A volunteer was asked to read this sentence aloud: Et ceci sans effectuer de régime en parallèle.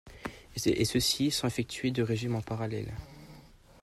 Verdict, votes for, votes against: rejected, 1, 2